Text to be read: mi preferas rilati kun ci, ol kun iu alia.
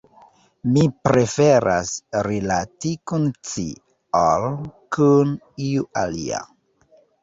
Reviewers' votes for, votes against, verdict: 2, 0, accepted